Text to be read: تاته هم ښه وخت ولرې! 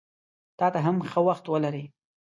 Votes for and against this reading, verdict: 2, 0, accepted